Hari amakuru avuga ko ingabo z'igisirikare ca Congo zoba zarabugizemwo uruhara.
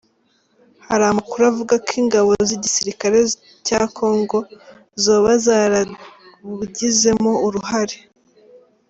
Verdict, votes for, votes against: rejected, 2, 3